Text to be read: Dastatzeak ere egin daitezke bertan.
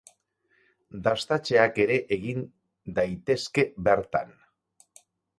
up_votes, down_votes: 2, 4